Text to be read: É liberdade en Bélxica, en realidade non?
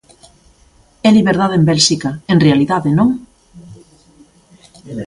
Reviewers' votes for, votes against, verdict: 1, 2, rejected